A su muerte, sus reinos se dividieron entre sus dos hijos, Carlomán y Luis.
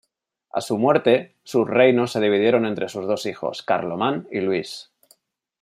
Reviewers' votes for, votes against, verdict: 2, 0, accepted